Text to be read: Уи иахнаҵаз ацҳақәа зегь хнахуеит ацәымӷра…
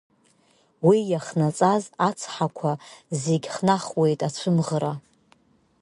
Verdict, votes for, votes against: accepted, 2, 0